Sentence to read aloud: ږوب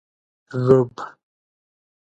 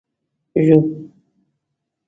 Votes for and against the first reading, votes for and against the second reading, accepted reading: 2, 1, 0, 2, first